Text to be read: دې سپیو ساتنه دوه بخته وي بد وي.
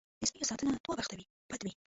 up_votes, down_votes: 1, 2